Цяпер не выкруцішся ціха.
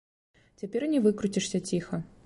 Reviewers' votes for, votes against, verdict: 3, 0, accepted